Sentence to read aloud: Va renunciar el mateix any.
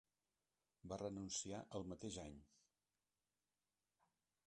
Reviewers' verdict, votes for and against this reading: rejected, 1, 2